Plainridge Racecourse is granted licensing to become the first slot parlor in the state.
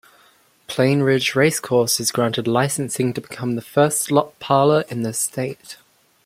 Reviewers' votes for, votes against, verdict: 2, 0, accepted